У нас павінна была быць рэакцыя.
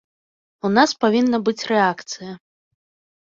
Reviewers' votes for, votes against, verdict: 1, 2, rejected